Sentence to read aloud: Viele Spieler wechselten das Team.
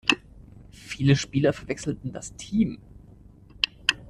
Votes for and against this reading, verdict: 1, 2, rejected